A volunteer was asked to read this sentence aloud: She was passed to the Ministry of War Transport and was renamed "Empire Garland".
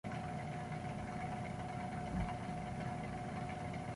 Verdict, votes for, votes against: rejected, 0, 2